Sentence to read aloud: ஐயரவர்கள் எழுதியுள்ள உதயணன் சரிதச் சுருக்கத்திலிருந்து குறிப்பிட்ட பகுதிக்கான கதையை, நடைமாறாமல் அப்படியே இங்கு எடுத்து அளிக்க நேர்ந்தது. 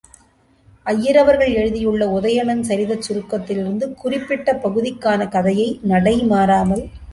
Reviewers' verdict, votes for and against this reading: rejected, 0, 2